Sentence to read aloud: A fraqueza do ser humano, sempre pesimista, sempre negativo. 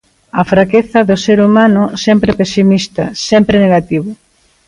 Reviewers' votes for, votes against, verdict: 2, 0, accepted